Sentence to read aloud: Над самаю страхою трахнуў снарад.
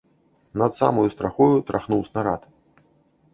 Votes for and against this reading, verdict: 1, 2, rejected